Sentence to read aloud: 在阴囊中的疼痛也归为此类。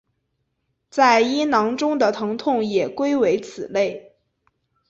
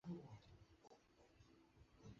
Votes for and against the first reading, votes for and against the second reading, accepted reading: 2, 0, 1, 2, first